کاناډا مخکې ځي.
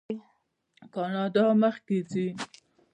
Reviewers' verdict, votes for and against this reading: rejected, 1, 2